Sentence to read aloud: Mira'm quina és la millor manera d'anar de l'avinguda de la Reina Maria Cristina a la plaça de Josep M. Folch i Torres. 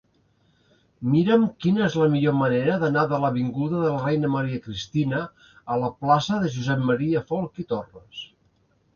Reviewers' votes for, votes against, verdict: 2, 0, accepted